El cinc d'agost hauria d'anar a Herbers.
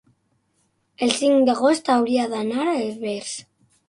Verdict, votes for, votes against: rejected, 0, 6